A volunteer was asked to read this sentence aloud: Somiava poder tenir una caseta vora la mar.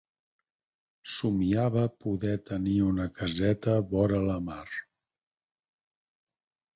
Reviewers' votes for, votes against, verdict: 4, 2, accepted